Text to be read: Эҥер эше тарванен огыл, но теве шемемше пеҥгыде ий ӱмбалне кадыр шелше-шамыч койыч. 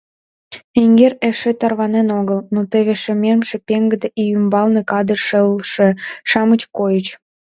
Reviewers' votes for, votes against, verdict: 2, 0, accepted